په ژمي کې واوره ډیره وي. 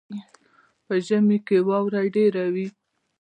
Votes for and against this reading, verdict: 0, 2, rejected